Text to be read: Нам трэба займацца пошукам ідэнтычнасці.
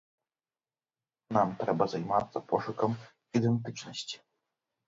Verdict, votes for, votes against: accepted, 3, 0